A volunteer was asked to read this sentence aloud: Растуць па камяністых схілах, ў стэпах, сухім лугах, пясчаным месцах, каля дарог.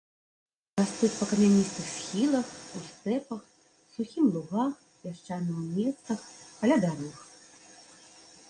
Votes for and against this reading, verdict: 0, 2, rejected